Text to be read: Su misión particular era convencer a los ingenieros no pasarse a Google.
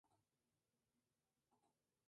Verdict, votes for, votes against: rejected, 0, 2